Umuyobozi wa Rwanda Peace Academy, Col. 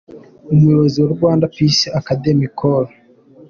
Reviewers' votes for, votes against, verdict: 2, 0, accepted